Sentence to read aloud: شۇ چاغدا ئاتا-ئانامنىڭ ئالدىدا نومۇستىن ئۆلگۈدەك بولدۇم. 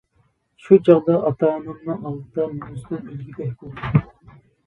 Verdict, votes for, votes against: rejected, 0, 2